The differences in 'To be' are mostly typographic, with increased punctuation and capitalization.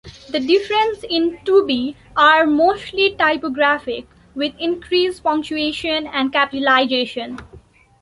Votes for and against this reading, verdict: 0, 2, rejected